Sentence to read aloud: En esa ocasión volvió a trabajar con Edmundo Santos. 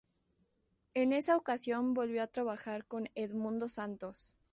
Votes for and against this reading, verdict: 2, 0, accepted